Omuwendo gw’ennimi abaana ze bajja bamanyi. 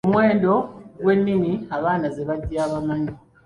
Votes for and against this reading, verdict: 2, 1, accepted